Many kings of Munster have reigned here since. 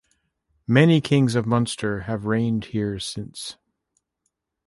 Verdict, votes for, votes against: accepted, 2, 0